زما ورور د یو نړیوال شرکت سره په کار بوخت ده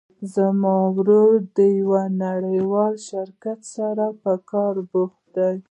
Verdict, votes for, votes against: rejected, 0, 2